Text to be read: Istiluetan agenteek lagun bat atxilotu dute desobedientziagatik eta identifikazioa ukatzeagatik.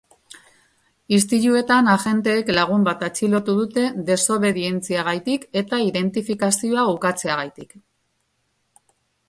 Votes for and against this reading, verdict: 0, 3, rejected